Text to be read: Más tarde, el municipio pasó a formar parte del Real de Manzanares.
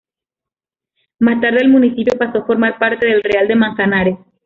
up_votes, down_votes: 2, 0